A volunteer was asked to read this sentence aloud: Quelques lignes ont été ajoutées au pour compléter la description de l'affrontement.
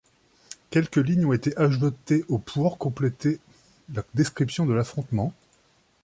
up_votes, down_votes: 2, 0